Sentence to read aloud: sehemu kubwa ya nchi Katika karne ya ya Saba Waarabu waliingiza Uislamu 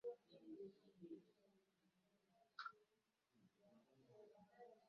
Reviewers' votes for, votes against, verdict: 0, 2, rejected